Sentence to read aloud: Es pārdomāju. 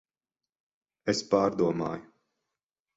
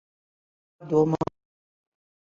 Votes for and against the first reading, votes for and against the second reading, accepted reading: 12, 0, 0, 2, first